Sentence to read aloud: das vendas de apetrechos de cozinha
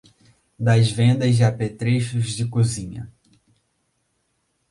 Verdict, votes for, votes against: accepted, 2, 0